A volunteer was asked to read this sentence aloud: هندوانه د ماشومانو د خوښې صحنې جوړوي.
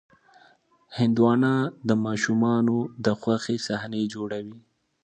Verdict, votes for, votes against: accepted, 2, 0